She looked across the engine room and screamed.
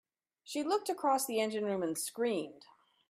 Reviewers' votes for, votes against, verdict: 3, 0, accepted